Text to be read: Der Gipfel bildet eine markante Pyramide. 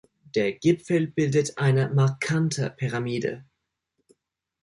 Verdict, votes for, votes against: accepted, 2, 0